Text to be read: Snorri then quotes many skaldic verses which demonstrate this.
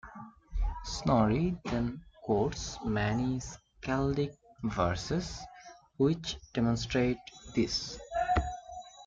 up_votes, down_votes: 2, 1